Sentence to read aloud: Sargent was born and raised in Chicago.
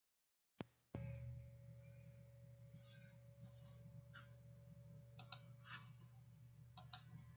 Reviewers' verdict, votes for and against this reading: rejected, 0, 2